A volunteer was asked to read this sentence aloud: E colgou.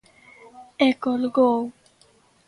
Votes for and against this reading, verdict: 2, 0, accepted